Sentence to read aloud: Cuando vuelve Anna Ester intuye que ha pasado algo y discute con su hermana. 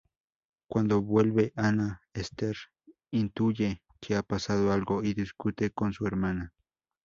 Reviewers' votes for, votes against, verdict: 2, 2, rejected